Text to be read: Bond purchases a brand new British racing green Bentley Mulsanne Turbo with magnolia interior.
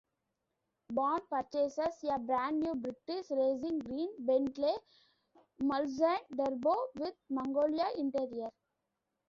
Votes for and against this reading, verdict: 2, 1, accepted